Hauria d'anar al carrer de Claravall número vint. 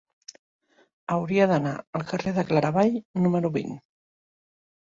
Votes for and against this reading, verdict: 2, 0, accepted